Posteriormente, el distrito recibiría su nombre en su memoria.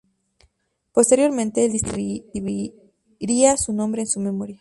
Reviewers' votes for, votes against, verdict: 0, 4, rejected